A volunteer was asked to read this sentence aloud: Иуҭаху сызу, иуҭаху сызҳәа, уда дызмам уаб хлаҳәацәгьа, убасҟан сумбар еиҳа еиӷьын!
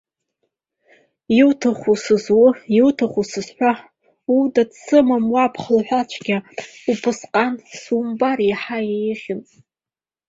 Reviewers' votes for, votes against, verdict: 1, 2, rejected